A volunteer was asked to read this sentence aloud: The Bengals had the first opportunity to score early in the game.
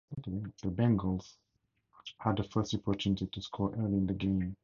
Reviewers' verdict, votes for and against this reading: rejected, 2, 4